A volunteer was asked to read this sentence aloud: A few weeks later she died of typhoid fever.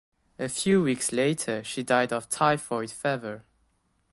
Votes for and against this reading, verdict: 1, 2, rejected